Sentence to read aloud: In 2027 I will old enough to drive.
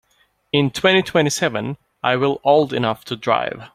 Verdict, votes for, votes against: rejected, 0, 2